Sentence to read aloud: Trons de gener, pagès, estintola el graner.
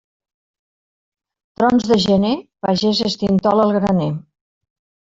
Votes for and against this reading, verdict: 2, 0, accepted